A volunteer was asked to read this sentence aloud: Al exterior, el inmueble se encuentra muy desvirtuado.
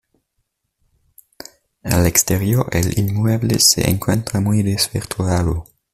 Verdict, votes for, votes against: accepted, 2, 0